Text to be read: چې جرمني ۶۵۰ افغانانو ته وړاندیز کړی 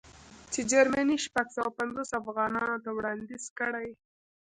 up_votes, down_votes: 0, 2